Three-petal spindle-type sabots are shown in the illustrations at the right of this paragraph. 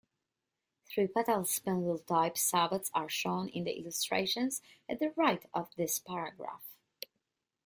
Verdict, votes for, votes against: rejected, 0, 2